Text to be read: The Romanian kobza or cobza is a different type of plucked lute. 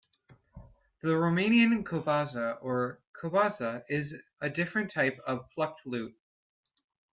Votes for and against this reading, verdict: 2, 0, accepted